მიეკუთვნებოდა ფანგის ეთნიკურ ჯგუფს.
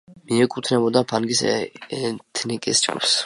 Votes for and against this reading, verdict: 0, 2, rejected